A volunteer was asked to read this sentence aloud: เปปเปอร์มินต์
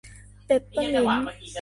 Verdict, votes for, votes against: rejected, 1, 2